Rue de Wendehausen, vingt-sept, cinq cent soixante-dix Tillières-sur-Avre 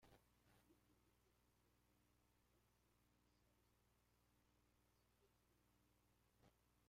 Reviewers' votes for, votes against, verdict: 0, 2, rejected